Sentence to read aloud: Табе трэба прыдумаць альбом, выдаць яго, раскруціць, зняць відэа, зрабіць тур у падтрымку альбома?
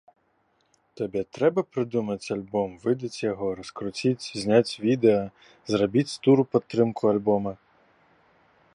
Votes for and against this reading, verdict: 2, 0, accepted